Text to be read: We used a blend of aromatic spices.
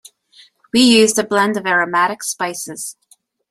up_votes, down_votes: 2, 0